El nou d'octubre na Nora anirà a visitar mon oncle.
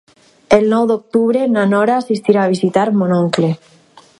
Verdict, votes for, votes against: rejected, 2, 4